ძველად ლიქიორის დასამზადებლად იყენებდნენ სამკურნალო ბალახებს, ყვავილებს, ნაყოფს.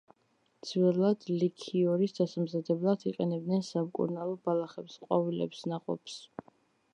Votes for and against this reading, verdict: 2, 0, accepted